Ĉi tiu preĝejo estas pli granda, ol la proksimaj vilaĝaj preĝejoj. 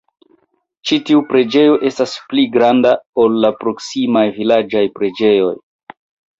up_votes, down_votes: 0, 2